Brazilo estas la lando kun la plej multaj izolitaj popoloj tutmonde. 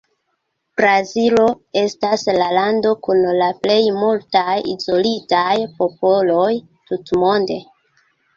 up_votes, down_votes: 2, 1